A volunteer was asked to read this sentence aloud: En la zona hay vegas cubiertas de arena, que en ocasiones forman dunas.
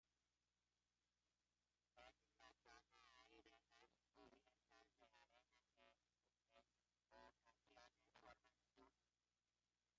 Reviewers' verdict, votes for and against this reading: rejected, 0, 2